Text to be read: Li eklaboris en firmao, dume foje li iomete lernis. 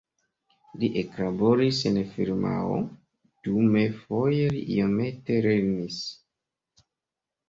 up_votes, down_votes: 0, 2